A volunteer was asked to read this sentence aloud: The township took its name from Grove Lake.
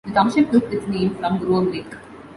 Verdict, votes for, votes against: rejected, 0, 2